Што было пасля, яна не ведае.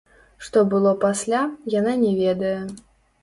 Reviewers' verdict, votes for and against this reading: rejected, 0, 2